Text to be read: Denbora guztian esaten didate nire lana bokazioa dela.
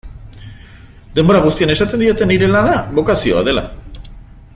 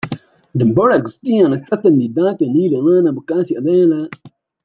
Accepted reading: first